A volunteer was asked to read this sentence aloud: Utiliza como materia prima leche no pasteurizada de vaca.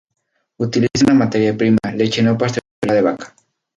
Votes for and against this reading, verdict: 0, 2, rejected